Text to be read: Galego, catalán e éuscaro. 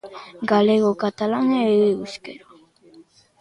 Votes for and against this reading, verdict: 0, 2, rejected